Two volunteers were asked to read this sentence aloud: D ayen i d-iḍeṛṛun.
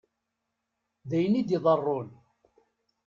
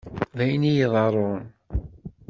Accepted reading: first